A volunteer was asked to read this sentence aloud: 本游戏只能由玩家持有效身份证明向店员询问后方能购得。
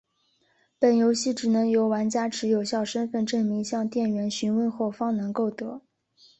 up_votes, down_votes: 2, 1